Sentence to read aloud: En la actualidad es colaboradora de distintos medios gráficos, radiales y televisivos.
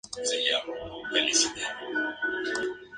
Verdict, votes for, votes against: rejected, 0, 2